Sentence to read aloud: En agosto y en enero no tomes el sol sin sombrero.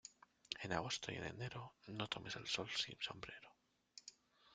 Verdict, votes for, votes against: rejected, 0, 2